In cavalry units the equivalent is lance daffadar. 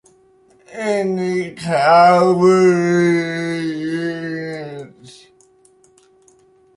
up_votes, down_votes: 0, 2